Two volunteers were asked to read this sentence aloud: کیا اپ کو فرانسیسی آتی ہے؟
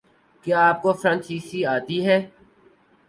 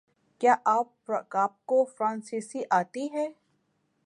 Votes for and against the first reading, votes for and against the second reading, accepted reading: 2, 2, 6, 1, second